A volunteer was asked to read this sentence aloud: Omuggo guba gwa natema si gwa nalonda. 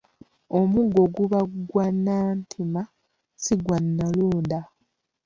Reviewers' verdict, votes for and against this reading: rejected, 1, 2